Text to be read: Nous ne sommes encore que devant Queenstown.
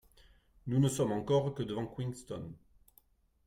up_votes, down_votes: 2, 0